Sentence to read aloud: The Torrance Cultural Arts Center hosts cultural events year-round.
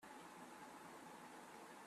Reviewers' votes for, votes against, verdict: 0, 2, rejected